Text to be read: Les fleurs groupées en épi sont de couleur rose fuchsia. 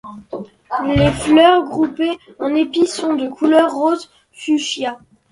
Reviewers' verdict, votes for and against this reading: accepted, 2, 0